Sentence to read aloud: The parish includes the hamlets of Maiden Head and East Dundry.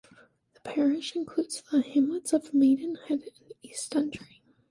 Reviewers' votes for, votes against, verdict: 1, 2, rejected